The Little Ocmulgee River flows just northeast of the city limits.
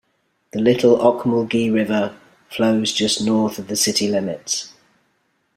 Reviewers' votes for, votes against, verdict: 0, 2, rejected